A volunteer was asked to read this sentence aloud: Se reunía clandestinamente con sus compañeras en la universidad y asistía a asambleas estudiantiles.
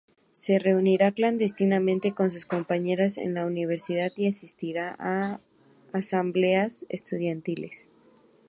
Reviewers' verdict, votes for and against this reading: rejected, 0, 2